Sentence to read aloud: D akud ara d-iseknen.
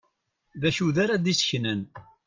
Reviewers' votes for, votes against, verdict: 1, 2, rejected